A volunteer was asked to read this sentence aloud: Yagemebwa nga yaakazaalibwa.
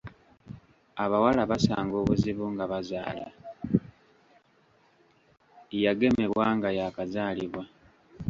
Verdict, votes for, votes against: rejected, 0, 2